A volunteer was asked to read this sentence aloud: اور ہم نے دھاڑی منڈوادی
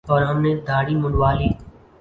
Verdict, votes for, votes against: accepted, 13, 1